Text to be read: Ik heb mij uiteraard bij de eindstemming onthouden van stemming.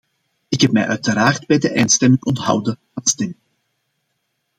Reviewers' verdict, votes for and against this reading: accepted, 2, 0